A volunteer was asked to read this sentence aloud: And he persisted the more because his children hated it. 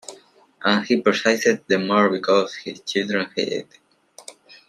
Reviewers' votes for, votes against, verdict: 0, 2, rejected